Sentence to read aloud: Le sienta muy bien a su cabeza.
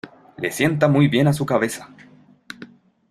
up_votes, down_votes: 2, 0